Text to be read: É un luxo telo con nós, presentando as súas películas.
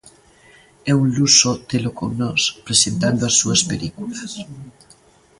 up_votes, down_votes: 2, 1